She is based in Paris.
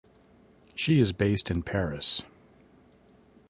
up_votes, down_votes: 2, 0